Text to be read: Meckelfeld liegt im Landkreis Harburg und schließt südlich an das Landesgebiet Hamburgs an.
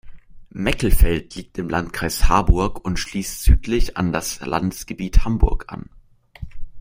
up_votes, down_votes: 2, 0